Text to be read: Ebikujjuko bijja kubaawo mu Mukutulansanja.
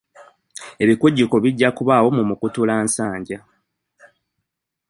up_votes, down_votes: 2, 0